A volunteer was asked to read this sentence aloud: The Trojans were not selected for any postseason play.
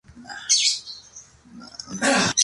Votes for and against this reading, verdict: 0, 2, rejected